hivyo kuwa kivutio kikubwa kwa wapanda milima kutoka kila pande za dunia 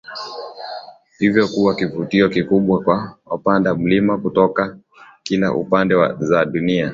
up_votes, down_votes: 2, 0